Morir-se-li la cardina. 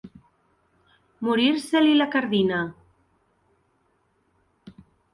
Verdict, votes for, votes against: accepted, 4, 0